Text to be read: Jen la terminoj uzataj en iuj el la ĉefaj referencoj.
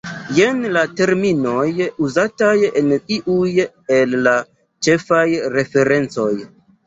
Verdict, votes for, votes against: accepted, 2, 0